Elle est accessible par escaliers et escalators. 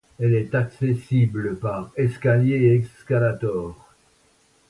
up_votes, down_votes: 2, 1